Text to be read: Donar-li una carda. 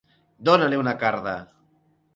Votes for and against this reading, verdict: 1, 2, rejected